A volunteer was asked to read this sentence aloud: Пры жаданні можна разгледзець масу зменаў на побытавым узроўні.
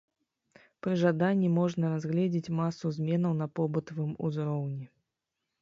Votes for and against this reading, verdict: 2, 0, accepted